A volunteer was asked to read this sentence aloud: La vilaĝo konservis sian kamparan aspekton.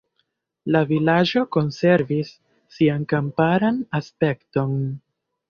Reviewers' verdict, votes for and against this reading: accepted, 2, 0